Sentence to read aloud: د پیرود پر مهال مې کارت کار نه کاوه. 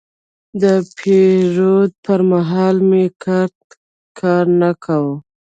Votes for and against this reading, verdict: 1, 2, rejected